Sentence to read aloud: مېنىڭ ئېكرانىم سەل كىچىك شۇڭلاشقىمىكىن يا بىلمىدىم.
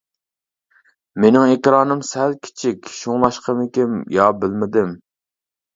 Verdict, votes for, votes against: accepted, 2, 0